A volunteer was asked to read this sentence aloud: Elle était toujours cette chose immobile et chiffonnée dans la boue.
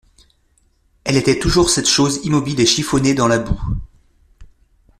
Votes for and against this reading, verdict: 2, 0, accepted